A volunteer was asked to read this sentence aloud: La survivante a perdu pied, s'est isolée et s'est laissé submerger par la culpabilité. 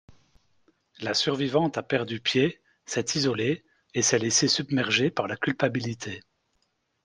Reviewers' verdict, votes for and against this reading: accepted, 2, 0